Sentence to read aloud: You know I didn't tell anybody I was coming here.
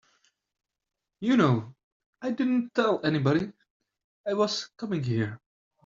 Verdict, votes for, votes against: accepted, 2, 0